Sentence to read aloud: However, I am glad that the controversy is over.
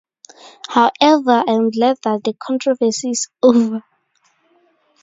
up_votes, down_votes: 2, 0